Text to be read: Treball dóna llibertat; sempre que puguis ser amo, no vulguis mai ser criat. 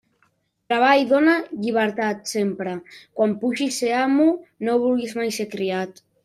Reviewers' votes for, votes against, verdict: 1, 2, rejected